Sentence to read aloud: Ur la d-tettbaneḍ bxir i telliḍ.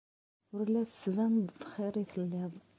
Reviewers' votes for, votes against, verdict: 2, 0, accepted